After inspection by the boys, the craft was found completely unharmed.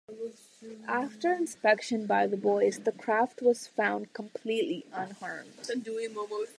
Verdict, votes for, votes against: rejected, 0, 2